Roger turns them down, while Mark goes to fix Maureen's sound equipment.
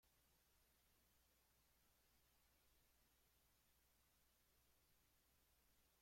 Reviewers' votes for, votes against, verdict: 0, 2, rejected